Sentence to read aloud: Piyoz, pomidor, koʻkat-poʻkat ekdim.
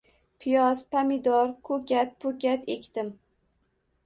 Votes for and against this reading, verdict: 2, 0, accepted